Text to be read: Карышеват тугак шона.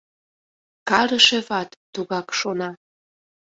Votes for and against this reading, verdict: 2, 0, accepted